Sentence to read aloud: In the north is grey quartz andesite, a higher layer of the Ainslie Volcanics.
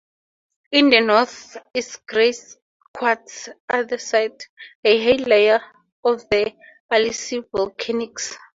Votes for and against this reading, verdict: 2, 0, accepted